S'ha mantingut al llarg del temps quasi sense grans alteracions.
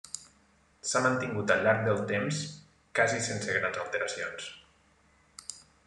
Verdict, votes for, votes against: rejected, 0, 2